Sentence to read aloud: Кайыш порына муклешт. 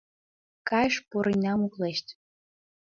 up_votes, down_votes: 0, 2